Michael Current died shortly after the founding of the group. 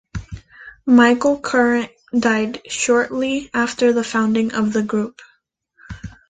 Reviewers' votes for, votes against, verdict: 3, 0, accepted